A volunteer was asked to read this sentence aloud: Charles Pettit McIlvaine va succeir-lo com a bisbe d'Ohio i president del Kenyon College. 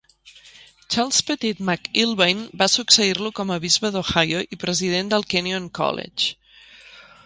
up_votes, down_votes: 3, 0